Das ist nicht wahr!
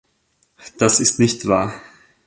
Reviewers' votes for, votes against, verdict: 2, 0, accepted